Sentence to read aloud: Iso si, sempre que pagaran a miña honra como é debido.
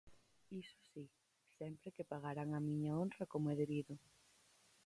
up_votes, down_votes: 0, 4